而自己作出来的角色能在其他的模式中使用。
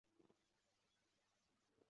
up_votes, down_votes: 0, 3